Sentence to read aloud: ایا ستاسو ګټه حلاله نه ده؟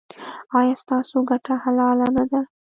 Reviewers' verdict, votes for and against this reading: rejected, 0, 2